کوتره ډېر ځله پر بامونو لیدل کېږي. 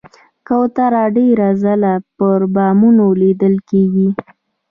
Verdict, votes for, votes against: accepted, 2, 1